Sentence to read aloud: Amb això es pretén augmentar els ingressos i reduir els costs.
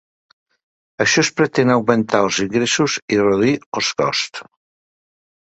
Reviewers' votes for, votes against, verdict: 2, 0, accepted